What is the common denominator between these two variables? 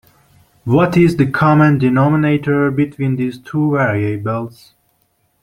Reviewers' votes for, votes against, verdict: 2, 0, accepted